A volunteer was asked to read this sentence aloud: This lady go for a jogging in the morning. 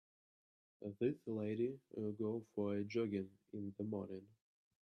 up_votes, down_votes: 1, 3